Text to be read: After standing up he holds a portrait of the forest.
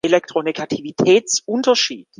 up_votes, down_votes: 0, 2